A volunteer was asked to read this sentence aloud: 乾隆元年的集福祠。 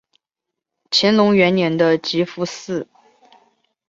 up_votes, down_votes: 2, 0